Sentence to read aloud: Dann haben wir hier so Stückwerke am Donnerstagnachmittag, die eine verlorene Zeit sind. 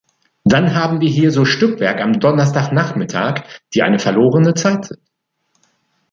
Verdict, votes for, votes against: rejected, 0, 2